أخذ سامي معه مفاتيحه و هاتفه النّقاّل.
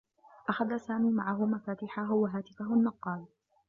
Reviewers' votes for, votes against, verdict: 2, 0, accepted